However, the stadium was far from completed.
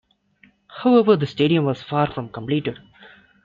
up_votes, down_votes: 2, 0